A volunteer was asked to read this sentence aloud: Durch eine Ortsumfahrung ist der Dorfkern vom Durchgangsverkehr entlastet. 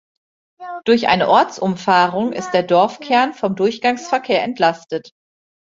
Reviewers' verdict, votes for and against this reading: accepted, 2, 1